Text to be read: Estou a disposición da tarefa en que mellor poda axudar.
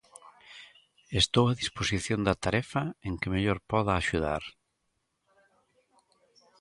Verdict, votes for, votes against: rejected, 1, 2